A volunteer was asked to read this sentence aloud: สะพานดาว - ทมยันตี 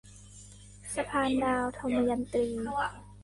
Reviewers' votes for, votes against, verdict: 1, 2, rejected